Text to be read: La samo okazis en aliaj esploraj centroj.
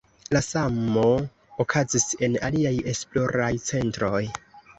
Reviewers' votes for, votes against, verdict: 2, 0, accepted